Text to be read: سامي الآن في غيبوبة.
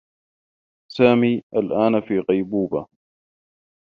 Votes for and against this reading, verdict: 2, 0, accepted